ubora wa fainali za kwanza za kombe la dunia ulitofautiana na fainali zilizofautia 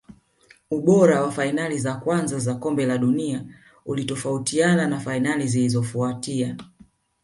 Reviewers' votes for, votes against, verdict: 3, 0, accepted